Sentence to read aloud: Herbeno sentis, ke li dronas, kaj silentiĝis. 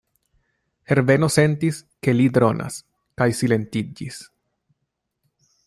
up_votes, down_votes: 2, 0